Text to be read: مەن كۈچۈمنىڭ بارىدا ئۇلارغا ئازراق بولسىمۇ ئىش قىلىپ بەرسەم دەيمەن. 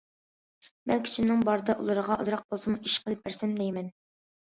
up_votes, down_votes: 2, 1